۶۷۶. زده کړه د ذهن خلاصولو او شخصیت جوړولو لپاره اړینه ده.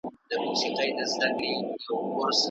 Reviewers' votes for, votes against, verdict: 0, 2, rejected